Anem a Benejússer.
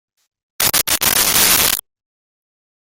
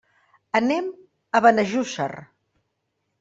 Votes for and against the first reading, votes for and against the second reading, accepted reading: 0, 2, 2, 0, second